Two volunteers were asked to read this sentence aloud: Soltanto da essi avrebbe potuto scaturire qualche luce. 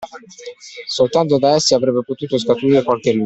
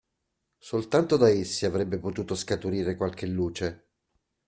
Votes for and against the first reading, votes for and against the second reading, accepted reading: 0, 2, 2, 0, second